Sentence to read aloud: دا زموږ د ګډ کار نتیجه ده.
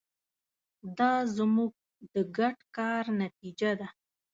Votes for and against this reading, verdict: 2, 0, accepted